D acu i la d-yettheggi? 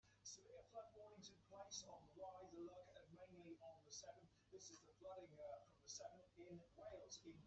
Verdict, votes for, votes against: rejected, 0, 2